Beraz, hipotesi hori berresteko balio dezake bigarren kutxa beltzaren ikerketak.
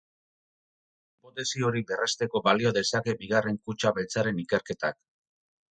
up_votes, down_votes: 4, 8